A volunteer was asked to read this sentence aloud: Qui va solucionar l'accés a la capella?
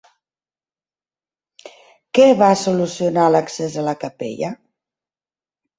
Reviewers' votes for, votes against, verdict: 0, 2, rejected